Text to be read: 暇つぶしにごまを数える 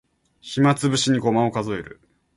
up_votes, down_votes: 2, 0